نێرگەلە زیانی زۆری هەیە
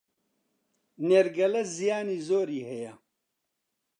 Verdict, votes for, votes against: accepted, 2, 0